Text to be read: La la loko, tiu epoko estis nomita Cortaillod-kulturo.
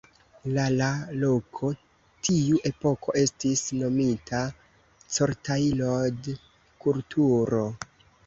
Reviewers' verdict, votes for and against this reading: accepted, 2, 0